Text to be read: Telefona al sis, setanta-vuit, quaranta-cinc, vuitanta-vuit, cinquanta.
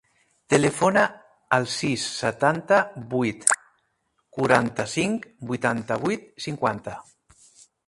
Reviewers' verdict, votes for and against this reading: rejected, 0, 2